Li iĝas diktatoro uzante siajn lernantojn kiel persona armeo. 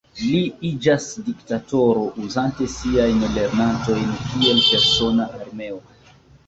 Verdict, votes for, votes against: accepted, 2, 0